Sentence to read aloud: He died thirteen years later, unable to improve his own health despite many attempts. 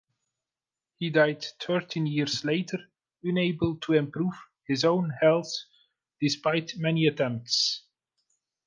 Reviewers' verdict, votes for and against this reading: rejected, 1, 2